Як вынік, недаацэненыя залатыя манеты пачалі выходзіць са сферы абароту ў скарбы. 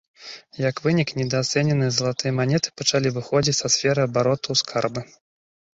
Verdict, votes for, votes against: accepted, 2, 0